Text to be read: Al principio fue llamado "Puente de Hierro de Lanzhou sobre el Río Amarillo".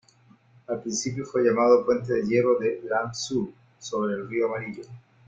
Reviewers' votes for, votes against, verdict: 2, 0, accepted